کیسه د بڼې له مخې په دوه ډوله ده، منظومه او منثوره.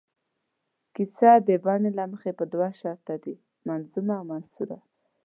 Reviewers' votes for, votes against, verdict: 1, 2, rejected